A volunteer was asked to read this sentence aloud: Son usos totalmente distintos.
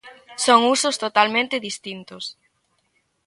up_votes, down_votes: 2, 0